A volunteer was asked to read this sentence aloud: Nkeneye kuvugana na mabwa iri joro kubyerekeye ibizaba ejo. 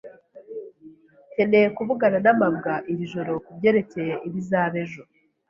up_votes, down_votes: 2, 0